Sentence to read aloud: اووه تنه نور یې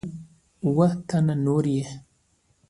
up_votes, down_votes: 2, 0